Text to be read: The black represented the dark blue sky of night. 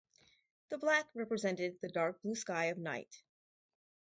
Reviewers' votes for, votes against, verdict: 2, 0, accepted